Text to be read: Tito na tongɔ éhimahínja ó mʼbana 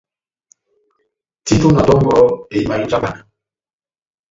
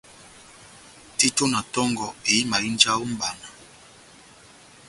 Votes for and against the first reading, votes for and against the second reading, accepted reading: 1, 2, 2, 0, second